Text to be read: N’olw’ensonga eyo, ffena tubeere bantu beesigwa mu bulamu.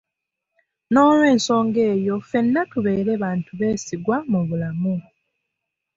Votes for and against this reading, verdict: 2, 0, accepted